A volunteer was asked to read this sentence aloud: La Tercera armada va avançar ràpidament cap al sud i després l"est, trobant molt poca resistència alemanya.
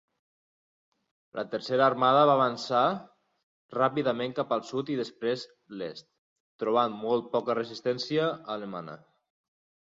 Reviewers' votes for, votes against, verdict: 0, 4, rejected